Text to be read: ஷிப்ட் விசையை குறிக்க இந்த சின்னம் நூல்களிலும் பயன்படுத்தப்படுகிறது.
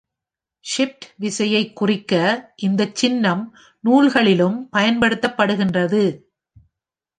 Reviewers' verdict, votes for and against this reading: rejected, 1, 2